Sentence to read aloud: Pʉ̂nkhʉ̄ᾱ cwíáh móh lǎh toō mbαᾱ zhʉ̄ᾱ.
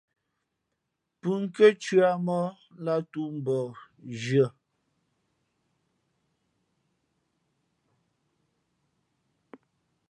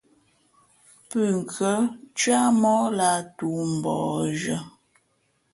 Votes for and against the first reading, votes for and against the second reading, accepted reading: 1, 2, 2, 0, second